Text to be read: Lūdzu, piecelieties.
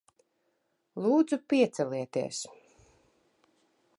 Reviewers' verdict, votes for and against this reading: accepted, 4, 0